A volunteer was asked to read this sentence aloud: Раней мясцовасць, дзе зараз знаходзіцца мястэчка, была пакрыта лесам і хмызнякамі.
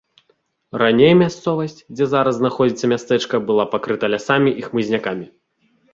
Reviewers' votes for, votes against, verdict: 0, 2, rejected